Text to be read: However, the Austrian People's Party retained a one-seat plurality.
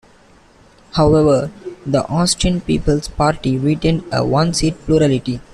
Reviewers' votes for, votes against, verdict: 2, 1, accepted